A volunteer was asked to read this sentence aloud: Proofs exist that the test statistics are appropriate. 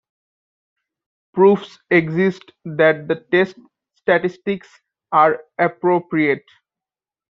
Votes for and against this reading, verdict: 1, 2, rejected